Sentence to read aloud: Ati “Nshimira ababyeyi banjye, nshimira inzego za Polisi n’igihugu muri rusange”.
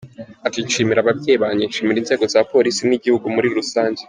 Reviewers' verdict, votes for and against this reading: accepted, 2, 0